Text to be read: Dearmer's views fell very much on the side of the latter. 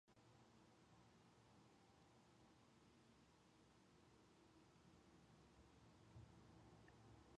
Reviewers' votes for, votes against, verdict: 0, 2, rejected